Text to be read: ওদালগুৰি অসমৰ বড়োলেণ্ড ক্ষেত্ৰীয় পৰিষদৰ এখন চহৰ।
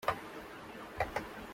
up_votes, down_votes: 0, 2